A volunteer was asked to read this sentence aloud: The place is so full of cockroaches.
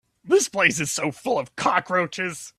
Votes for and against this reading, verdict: 0, 3, rejected